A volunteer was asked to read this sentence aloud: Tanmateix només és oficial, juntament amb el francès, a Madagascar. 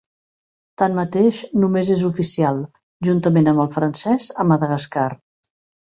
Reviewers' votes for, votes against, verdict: 3, 0, accepted